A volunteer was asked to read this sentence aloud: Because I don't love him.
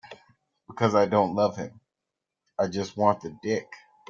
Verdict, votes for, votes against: rejected, 0, 2